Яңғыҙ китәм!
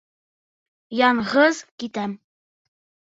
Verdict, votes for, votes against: rejected, 1, 2